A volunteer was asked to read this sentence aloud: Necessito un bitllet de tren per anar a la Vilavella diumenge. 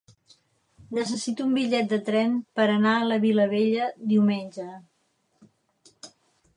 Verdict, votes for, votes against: accepted, 4, 0